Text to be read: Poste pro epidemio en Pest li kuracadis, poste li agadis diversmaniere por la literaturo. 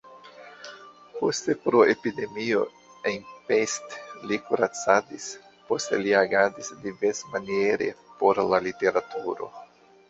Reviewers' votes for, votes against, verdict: 1, 2, rejected